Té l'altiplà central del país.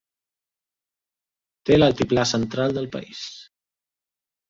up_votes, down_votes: 2, 0